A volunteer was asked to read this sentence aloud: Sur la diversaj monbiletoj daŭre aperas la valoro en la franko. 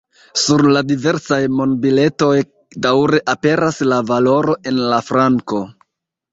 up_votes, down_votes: 1, 2